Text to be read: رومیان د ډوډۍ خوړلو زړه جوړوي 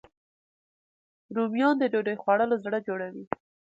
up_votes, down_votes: 2, 0